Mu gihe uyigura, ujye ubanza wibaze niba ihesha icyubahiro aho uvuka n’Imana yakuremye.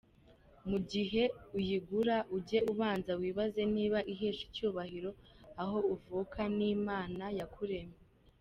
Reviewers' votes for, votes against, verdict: 2, 0, accepted